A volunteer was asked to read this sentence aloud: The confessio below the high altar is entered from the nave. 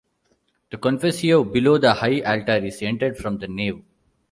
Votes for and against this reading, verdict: 2, 0, accepted